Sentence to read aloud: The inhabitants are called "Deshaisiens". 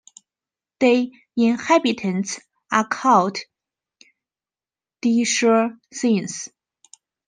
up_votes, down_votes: 1, 2